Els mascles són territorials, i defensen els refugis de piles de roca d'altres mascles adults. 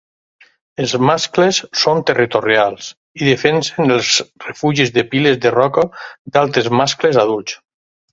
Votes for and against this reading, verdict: 0, 4, rejected